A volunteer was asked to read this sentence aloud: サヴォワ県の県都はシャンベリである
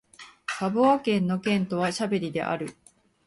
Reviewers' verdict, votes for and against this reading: accepted, 4, 1